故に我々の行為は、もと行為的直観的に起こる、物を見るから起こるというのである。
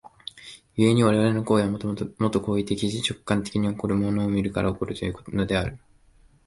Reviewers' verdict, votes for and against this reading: rejected, 1, 2